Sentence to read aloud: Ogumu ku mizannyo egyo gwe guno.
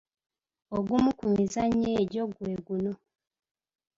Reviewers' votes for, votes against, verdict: 2, 0, accepted